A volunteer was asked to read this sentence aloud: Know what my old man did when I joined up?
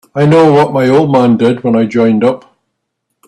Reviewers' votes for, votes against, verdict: 3, 5, rejected